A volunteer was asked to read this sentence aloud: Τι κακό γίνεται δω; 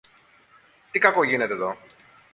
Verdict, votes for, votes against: accepted, 2, 0